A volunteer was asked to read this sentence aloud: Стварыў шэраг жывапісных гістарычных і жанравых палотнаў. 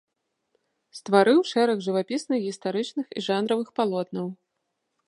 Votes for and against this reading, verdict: 2, 0, accepted